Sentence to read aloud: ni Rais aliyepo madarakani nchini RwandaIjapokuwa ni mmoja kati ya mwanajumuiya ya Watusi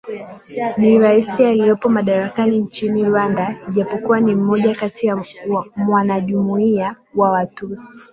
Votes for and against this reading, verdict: 0, 2, rejected